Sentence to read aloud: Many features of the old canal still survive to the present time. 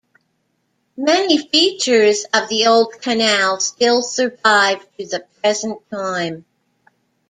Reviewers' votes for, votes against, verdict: 2, 0, accepted